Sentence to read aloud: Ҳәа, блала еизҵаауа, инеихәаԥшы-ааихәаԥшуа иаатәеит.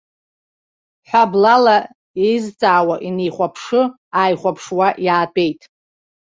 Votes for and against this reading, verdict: 0, 2, rejected